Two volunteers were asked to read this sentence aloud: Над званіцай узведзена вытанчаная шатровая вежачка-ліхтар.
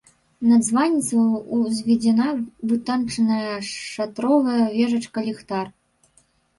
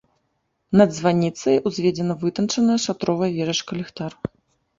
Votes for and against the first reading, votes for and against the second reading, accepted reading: 0, 2, 2, 0, second